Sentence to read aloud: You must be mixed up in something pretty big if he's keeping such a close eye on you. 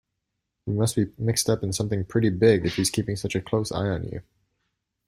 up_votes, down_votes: 2, 0